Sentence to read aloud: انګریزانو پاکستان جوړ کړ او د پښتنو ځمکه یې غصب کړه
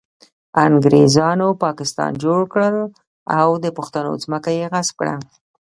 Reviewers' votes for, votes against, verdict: 1, 2, rejected